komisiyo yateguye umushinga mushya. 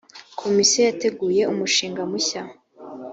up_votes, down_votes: 2, 0